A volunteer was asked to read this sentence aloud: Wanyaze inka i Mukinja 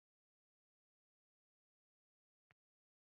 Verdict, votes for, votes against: rejected, 0, 2